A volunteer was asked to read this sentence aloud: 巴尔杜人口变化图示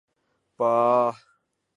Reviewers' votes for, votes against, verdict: 0, 3, rejected